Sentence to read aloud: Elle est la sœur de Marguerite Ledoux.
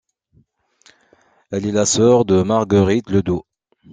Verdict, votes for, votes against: accepted, 2, 0